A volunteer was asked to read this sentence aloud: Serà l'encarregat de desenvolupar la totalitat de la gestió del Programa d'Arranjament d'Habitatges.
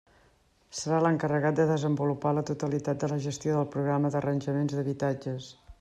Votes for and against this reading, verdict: 1, 2, rejected